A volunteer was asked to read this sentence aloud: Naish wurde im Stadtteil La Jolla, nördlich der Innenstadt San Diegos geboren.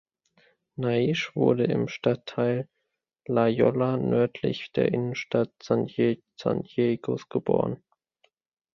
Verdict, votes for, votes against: rejected, 0, 2